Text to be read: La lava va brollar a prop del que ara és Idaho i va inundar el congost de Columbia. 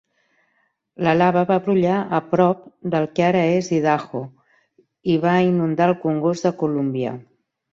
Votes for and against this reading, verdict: 2, 0, accepted